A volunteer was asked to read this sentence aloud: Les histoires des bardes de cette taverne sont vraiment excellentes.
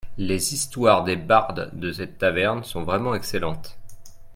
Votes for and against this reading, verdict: 2, 0, accepted